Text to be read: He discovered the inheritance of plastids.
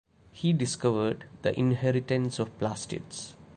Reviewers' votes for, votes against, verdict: 2, 0, accepted